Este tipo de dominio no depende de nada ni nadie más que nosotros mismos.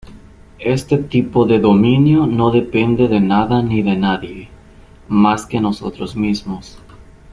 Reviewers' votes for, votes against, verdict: 1, 2, rejected